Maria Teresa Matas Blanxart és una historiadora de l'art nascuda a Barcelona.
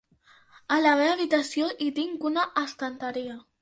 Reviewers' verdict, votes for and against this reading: rejected, 0, 2